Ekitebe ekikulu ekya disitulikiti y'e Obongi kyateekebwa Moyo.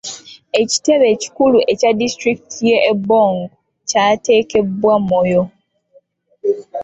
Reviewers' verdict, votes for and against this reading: rejected, 1, 2